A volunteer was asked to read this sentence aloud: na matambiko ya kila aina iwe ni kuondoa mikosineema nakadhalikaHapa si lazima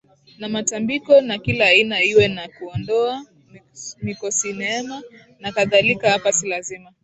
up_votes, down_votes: 1, 2